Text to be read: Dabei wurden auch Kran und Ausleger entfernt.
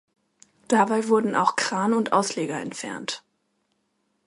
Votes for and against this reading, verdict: 2, 0, accepted